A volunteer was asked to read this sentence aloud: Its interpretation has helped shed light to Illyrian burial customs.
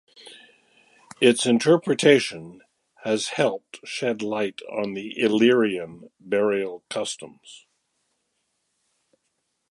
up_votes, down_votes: 1, 2